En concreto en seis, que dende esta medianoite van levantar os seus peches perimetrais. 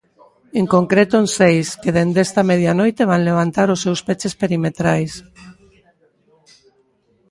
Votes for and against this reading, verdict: 2, 0, accepted